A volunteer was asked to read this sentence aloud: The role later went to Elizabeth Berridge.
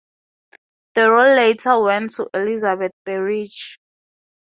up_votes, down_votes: 0, 2